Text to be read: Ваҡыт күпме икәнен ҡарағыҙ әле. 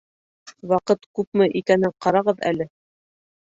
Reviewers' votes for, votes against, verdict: 2, 0, accepted